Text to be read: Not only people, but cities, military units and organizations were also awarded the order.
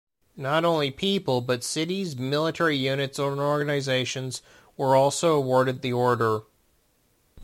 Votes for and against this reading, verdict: 1, 2, rejected